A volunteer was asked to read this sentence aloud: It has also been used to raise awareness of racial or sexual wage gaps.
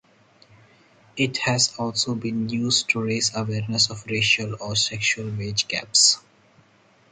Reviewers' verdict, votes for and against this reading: accepted, 4, 0